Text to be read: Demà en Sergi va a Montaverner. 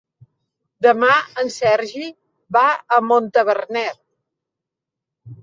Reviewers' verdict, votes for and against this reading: accepted, 3, 0